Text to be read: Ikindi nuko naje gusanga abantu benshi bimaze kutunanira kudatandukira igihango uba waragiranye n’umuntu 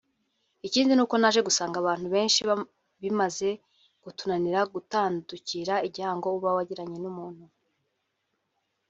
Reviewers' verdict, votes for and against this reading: rejected, 2, 3